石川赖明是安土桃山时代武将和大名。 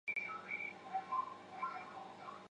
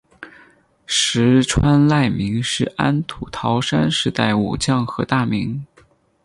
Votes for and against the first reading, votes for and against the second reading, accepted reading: 2, 5, 6, 0, second